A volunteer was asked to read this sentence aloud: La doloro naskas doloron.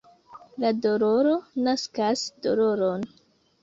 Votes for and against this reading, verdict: 2, 0, accepted